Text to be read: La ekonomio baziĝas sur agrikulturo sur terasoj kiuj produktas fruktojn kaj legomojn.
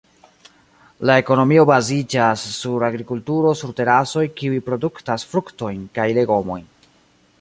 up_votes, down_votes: 2, 1